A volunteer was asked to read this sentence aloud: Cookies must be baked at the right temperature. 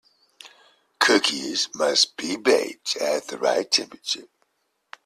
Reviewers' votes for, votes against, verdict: 2, 0, accepted